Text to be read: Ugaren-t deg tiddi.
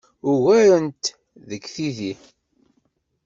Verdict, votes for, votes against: rejected, 1, 2